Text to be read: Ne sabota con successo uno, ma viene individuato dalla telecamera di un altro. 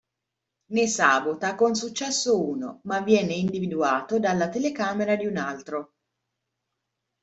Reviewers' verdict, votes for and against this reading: accepted, 2, 1